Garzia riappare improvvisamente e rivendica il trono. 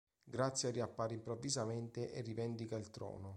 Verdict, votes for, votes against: rejected, 1, 2